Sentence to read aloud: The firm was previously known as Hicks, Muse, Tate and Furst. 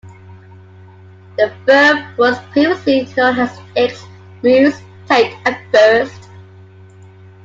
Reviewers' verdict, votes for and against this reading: accepted, 2, 0